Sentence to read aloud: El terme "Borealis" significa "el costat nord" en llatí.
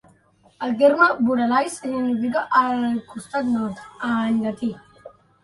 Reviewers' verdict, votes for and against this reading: rejected, 0, 2